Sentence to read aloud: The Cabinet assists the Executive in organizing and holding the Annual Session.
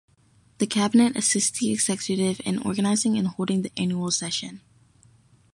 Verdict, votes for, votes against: accepted, 2, 0